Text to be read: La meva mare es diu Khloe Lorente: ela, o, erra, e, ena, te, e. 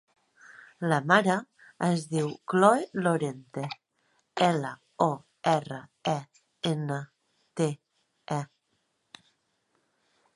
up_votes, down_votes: 0, 2